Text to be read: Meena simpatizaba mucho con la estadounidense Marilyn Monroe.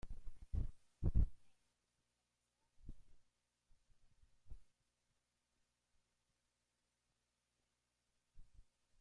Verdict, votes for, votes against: rejected, 0, 2